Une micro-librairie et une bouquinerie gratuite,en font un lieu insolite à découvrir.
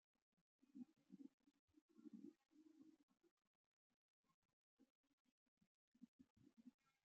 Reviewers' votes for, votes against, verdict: 0, 2, rejected